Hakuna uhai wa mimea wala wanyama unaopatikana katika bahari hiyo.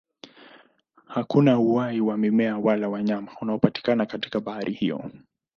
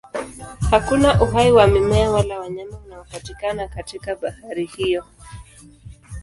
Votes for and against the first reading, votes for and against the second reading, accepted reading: 2, 0, 1, 2, first